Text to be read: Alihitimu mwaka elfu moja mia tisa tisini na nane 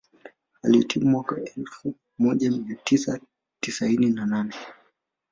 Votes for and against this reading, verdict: 1, 2, rejected